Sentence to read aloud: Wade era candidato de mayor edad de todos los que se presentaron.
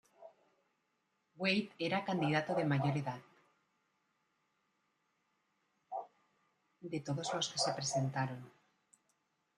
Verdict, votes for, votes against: rejected, 0, 2